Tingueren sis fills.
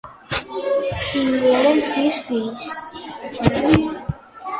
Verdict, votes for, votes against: accepted, 2, 1